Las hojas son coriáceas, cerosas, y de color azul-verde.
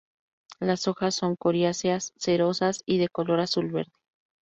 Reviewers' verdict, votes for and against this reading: accepted, 4, 0